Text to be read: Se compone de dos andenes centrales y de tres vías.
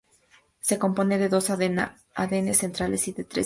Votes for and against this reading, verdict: 2, 2, rejected